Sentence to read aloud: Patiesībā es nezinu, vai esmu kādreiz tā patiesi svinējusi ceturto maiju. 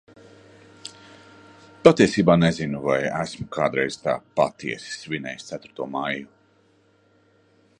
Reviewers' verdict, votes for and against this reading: rejected, 1, 2